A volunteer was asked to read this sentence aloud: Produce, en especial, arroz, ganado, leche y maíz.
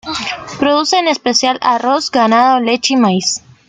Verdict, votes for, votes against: accepted, 2, 0